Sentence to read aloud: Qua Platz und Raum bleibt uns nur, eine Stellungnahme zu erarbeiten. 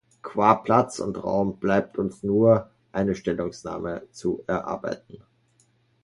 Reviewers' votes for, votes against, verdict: 1, 2, rejected